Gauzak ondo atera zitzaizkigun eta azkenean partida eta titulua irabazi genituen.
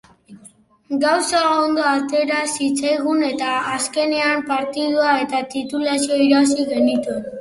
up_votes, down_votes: 0, 2